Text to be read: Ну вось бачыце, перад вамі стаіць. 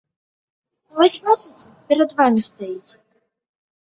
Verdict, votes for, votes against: rejected, 1, 2